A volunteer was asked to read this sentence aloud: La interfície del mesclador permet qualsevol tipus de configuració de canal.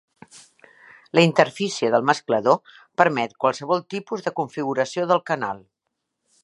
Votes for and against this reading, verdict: 0, 2, rejected